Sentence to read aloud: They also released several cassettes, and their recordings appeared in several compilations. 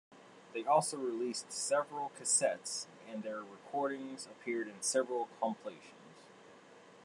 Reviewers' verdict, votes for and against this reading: rejected, 1, 2